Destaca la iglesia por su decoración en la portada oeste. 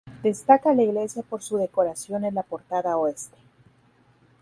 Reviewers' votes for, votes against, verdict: 2, 0, accepted